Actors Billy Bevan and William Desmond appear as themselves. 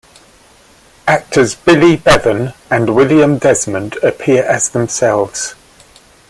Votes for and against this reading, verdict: 2, 0, accepted